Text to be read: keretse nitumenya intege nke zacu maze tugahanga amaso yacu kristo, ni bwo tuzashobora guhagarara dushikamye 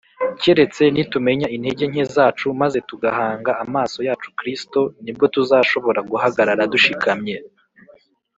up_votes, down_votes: 2, 0